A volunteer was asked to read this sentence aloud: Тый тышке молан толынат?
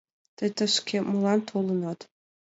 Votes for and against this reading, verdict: 2, 0, accepted